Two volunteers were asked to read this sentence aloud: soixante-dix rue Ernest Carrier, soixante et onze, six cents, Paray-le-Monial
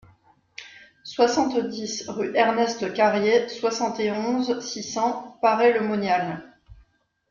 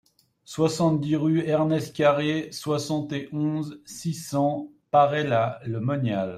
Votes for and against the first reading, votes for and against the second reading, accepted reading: 2, 0, 1, 2, first